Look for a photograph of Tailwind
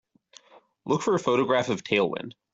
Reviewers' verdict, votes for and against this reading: accepted, 2, 0